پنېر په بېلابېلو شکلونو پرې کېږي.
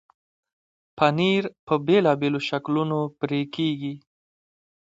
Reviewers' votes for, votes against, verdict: 2, 1, accepted